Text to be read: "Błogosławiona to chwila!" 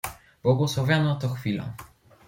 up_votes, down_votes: 2, 0